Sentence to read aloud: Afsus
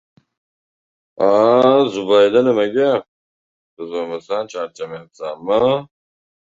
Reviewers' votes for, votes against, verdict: 0, 2, rejected